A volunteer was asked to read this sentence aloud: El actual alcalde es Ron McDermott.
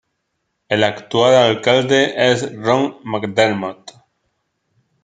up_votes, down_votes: 1, 2